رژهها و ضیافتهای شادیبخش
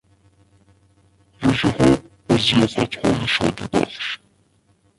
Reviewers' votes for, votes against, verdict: 0, 2, rejected